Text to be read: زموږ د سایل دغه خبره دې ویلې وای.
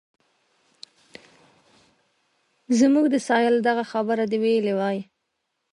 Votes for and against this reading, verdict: 2, 0, accepted